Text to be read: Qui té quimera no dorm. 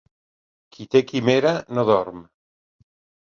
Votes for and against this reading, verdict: 2, 0, accepted